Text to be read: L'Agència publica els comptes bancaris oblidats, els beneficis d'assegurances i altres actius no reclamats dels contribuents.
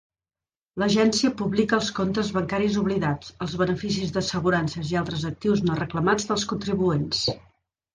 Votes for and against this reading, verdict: 1, 2, rejected